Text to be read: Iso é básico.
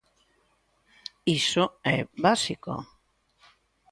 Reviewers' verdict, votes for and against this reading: accepted, 2, 0